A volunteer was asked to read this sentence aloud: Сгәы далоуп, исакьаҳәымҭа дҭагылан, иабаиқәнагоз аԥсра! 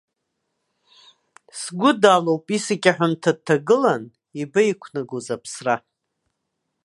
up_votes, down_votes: 2, 0